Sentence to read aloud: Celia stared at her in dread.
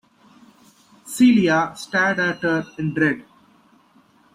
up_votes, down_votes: 0, 2